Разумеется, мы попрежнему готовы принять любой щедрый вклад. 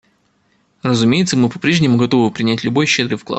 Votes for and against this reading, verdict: 2, 0, accepted